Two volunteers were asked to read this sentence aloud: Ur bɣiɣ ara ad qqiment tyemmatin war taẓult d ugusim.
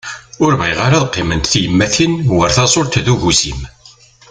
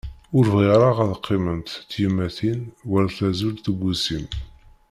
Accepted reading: first